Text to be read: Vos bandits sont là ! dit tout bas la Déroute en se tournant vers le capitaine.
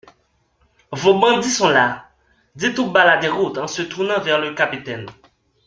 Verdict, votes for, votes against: accepted, 2, 1